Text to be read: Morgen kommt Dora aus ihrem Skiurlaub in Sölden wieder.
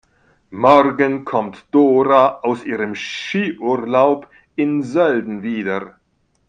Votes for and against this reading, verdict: 1, 2, rejected